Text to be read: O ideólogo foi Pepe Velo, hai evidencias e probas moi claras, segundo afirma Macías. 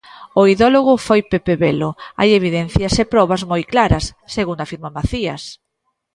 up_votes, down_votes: 1, 2